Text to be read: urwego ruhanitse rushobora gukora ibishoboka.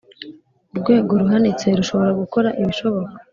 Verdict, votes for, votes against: accepted, 2, 0